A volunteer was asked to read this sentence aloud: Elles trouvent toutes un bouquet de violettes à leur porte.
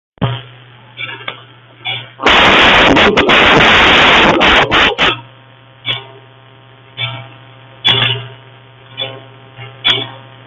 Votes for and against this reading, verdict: 1, 2, rejected